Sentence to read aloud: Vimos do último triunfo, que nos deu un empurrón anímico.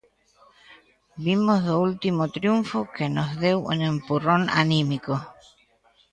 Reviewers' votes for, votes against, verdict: 2, 0, accepted